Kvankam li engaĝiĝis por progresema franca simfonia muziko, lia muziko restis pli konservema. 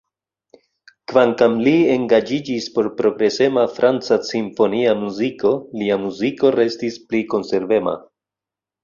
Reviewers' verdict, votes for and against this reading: rejected, 1, 2